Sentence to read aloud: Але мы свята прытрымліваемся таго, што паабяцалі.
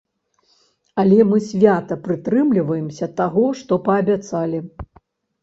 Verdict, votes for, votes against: accepted, 2, 0